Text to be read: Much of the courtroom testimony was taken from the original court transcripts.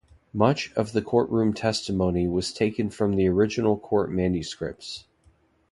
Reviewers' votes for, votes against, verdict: 0, 2, rejected